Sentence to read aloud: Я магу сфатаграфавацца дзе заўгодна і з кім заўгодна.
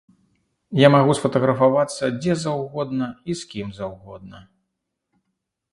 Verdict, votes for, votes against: accepted, 2, 0